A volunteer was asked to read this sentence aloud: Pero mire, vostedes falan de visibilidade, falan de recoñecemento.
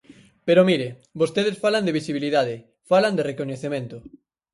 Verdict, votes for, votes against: accepted, 4, 0